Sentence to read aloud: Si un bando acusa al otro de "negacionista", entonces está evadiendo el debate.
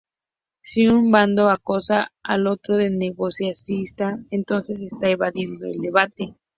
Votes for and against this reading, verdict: 2, 0, accepted